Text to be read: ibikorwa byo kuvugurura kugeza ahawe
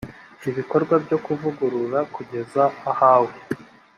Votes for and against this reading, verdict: 2, 0, accepted